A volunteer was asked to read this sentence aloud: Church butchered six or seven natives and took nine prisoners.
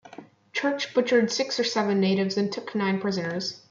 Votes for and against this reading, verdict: 1, 2, rejected